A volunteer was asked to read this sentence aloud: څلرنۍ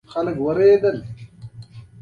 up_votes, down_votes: 0, 2